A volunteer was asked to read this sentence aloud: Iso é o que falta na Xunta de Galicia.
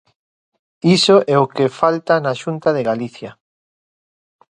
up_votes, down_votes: 2, 1